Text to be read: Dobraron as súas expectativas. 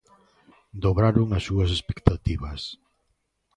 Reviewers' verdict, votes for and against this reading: accepted, 2, 0